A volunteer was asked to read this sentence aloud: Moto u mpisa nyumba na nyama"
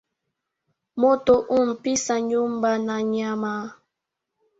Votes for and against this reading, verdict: 2, 1, accepted